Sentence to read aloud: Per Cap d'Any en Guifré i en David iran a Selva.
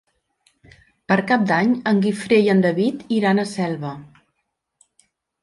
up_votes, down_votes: 3, 0